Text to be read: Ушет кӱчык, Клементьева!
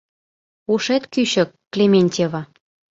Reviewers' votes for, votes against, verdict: 2, 0, accepted